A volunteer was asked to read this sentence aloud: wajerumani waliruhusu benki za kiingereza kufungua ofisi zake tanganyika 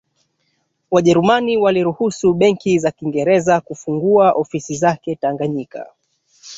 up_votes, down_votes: 0, 2